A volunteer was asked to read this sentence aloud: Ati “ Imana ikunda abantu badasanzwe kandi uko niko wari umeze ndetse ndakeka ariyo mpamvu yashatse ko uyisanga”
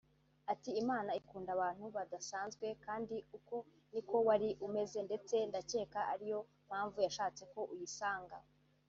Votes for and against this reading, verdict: 2, 0, accepted